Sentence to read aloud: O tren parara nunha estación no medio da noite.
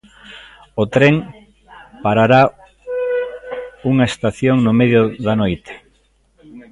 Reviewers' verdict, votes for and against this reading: rejected, 0, 2